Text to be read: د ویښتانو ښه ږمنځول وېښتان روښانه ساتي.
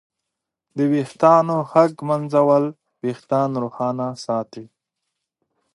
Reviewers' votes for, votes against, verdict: 2, 0, accepted